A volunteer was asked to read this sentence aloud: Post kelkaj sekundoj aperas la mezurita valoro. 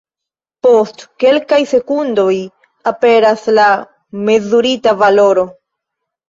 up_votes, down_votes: 2, 0